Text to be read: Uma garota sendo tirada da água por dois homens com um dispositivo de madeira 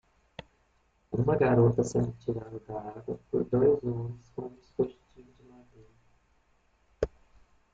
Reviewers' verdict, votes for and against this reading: rejected, 0, 2